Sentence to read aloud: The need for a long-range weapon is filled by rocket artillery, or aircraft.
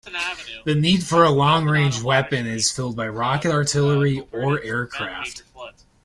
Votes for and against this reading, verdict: 2, 1, accepted